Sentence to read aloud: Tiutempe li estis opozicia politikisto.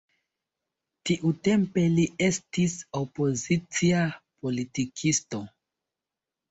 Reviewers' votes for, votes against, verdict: 2, 0, accepted